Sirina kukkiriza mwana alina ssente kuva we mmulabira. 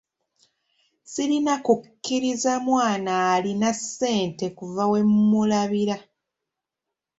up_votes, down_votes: 1, 2